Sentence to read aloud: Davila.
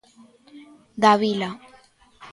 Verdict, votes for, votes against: accepted, 2, 0